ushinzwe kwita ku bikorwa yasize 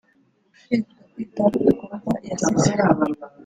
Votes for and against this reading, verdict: 1, 2, rejected